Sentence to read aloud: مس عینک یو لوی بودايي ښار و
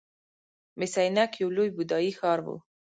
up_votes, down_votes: 1, 2